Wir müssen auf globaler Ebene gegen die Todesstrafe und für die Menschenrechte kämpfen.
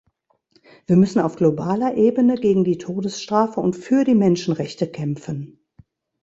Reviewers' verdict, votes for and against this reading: accepted, 2, 0